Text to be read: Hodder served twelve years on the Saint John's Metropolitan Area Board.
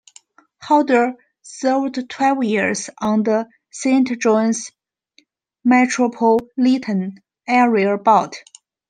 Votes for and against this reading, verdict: 1, 2, rejected